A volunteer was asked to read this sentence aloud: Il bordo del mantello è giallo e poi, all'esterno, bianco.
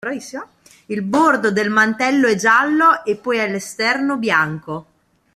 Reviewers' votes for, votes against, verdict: 0, 2, rejected